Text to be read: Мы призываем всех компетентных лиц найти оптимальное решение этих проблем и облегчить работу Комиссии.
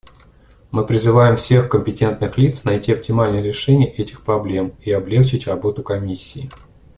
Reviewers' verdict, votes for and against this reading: accepted, 2, 0